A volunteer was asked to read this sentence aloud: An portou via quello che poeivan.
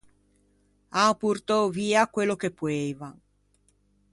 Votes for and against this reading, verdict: 2, 0, accepted